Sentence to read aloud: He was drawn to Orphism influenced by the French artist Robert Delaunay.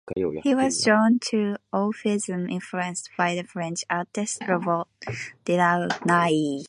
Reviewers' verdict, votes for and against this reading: rejected, 1, 2